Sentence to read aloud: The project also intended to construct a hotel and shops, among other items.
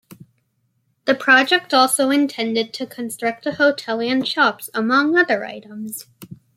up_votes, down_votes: 3, 1